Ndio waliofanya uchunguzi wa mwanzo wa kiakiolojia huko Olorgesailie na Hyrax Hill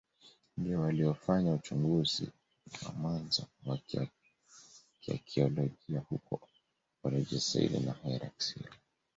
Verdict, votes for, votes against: rejected, 0, 2